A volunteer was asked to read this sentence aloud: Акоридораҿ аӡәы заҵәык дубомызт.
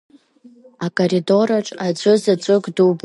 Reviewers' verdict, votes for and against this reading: rejected, 1, 2